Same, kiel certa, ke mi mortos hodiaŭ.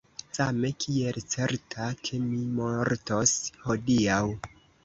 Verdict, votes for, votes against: accepted, 2, 1